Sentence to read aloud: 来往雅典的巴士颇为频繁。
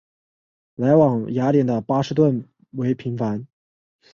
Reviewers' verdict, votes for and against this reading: rejected, 0, 2